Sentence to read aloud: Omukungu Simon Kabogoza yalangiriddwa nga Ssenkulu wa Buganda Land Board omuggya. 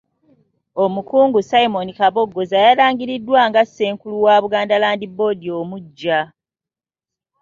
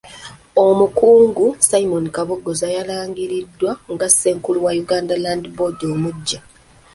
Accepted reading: first